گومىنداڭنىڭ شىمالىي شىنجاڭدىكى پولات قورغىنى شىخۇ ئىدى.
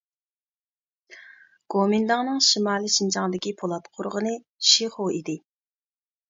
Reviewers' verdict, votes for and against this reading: accepted, 2, 0